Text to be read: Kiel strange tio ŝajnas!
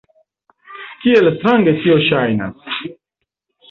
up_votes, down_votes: 2, 0